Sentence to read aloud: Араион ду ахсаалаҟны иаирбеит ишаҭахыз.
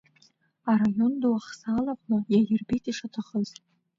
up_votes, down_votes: 1, 2